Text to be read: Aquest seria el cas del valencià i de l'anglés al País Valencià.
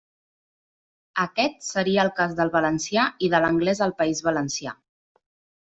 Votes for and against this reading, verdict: 3, 0, accepted